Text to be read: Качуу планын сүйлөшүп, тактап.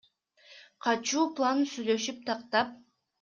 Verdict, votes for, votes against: accepted, 2, 0